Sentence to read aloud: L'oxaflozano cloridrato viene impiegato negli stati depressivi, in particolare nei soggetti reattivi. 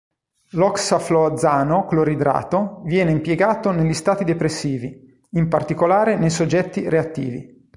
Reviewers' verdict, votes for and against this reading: rejected, 3, 5